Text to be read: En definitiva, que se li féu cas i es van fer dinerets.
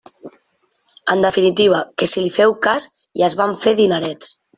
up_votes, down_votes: 0, 2